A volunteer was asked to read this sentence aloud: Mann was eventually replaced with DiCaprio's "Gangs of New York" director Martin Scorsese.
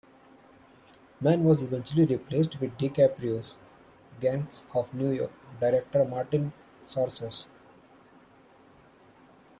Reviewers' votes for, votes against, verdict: 0, 2, rejected